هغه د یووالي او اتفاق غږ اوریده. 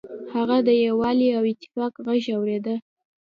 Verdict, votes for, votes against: accepted, 3, 0